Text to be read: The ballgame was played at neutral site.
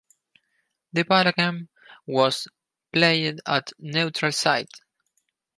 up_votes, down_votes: 4, 0